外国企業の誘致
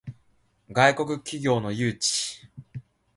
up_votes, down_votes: 2, 0